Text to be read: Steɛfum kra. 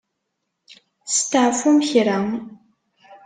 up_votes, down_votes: 2, 0